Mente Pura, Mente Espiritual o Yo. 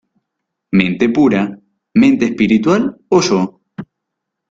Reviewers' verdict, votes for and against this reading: accepted, 2, 0